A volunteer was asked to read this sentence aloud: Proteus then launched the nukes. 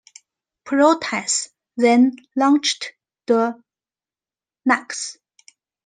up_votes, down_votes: 1, 2